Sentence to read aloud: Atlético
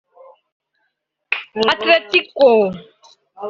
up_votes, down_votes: 1, 2